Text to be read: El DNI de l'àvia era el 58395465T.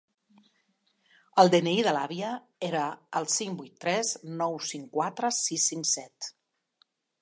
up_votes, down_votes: 0, 2